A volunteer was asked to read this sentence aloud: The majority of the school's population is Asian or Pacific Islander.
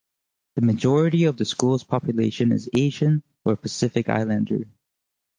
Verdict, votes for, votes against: accepted, 4, 0